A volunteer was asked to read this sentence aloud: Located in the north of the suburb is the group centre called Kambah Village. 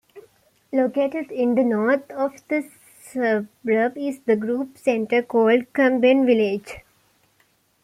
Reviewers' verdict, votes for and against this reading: rejected, 0, 2